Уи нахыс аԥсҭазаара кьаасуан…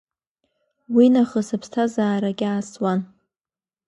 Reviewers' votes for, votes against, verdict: 2, 1, accepted